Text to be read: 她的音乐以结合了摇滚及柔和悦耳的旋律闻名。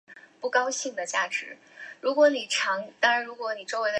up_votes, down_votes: 0, 5